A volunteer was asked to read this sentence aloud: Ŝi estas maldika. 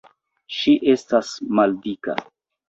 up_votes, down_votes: 2, 0